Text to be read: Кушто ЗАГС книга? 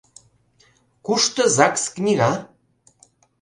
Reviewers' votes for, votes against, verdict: 2, 0, accepted